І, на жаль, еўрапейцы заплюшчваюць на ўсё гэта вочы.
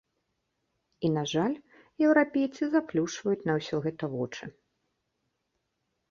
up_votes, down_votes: 2, 0